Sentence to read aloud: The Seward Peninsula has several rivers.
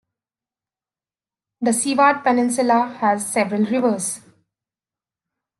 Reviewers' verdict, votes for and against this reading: accepted, 2, 0